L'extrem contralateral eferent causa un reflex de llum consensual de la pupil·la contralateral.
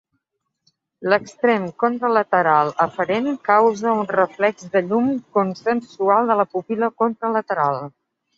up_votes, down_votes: 2, 0